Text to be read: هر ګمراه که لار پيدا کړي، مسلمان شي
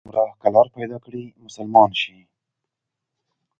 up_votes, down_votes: 2, 0